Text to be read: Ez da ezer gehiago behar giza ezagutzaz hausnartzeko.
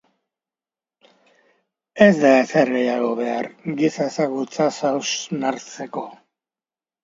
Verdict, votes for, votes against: accepted, 2, 1